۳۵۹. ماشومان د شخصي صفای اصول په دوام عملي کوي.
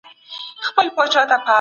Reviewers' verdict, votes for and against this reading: rejected, 0, 2